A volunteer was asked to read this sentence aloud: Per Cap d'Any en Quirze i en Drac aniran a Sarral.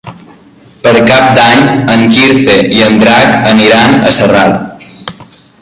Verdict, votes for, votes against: accepted, 2, 0